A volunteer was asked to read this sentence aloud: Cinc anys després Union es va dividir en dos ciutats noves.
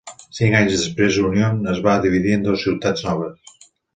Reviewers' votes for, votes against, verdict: 2, 0, accepted